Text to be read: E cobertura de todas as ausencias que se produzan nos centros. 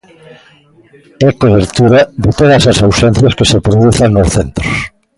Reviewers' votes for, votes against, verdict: 0, 2, rejected